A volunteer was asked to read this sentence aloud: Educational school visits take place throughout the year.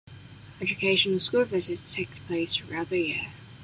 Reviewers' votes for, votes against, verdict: 1, 2, rejected